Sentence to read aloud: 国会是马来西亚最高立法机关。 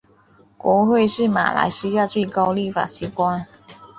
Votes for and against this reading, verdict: 3, 0, accepted